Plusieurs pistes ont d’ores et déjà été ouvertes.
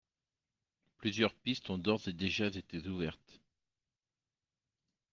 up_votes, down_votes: 2, 3